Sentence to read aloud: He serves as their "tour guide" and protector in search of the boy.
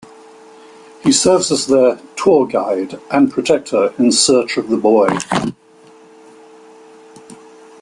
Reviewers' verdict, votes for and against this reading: accepted, 2, 0